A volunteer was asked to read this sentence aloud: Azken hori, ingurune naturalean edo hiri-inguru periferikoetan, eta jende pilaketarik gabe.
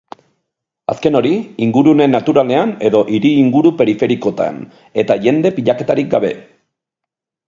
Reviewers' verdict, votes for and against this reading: rejected, 0, 4